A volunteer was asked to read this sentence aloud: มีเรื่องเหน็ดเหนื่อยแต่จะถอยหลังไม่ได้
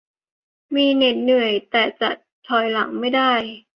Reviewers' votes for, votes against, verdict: 0, 2, rejected